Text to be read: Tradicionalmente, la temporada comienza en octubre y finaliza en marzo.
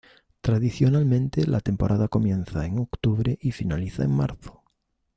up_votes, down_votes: 2, 0